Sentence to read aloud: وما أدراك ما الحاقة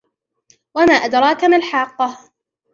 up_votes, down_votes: 1, 2